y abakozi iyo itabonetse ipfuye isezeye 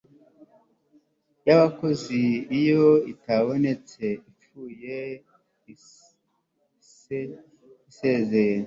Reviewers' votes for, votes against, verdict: 1, 2, rejected